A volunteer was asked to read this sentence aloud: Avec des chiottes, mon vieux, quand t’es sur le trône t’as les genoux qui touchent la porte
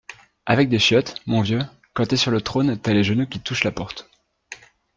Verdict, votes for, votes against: accepted, 2, 0